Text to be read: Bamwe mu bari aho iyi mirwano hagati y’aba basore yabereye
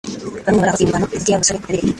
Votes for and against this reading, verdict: 0, 3, rejected